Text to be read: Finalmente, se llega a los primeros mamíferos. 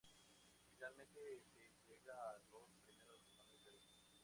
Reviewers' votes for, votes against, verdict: 0, 4, rejected